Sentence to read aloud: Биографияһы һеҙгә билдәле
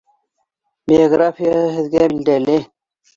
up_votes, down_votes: 2, 0